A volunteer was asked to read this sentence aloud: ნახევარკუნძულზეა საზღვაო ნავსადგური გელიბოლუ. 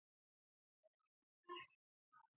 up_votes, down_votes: 0, 2